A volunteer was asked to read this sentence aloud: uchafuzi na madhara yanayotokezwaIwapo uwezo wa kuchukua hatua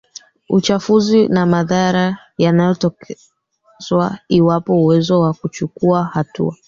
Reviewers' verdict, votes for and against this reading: rejected, 1, 2